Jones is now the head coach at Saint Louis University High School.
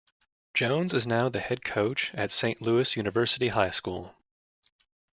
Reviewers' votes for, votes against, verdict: 2, 0, accepted